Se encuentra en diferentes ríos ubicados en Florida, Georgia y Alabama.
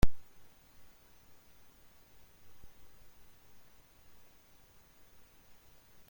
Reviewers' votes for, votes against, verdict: 0, 2, rejected